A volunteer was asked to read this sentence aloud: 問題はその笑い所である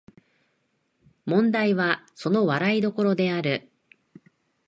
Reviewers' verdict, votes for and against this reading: accepted, 2, 0